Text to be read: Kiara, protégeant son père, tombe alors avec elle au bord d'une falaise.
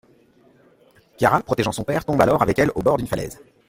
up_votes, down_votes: 2, 1